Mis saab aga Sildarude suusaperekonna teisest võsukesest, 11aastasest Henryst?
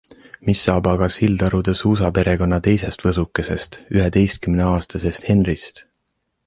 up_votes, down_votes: 0, 2